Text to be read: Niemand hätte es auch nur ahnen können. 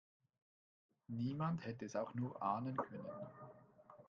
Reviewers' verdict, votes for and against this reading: rejected, 1, 2